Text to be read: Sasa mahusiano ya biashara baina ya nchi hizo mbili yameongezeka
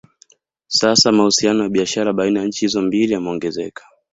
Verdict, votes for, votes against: rejected, 1, 2